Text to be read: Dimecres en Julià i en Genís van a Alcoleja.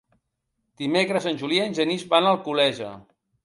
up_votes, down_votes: 3, 2